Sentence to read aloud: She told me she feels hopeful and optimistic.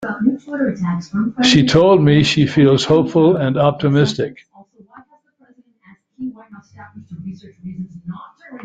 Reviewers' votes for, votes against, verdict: 0, 2, rejected